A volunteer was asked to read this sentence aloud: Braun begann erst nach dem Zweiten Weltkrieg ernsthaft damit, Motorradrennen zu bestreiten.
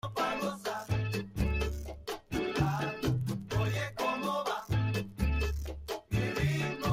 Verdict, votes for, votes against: rejected, 0, 2